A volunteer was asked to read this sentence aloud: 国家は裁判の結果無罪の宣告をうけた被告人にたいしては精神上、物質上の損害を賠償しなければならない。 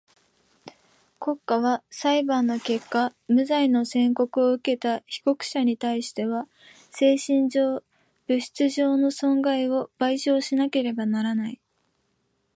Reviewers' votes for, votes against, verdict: 1, 2, rejected